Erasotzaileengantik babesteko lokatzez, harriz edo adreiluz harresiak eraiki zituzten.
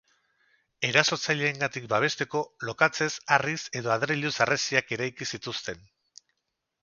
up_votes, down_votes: 2, 0